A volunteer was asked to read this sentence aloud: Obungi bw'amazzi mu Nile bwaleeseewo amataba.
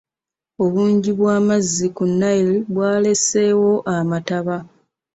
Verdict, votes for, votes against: rejected, 0, 2